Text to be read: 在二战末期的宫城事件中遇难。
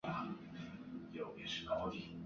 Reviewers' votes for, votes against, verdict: 1, 2, rejected